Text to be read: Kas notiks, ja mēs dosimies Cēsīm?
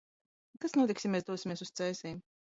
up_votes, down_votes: 1, 2